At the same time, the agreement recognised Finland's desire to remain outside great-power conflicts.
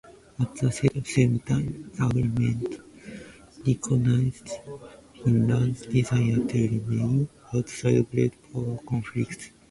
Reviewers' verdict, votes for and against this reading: rejected, 0, 2